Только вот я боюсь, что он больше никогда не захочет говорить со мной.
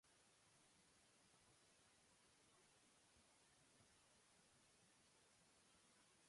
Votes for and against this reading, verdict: 0, 2, rejected